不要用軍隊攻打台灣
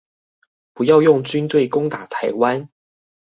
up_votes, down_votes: 2, 0